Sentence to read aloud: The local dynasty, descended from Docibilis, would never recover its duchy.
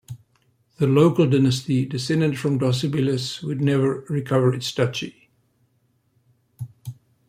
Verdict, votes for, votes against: accepted, 2, 0